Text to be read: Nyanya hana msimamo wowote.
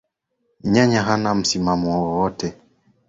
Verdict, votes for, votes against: rejected, 0, 2